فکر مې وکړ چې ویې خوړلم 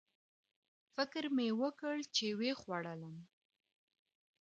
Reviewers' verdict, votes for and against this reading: accepted, 2, 0